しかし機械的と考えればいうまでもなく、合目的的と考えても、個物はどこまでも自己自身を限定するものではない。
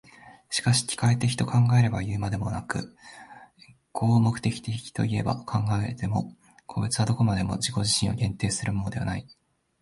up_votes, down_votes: 0, 2